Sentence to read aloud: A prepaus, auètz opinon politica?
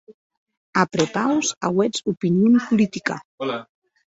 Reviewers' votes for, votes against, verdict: 0, 2, rejected